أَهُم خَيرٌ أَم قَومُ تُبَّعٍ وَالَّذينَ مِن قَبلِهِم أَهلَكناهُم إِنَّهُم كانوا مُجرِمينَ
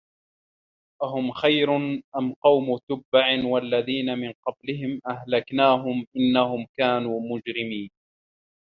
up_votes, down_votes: 0, 2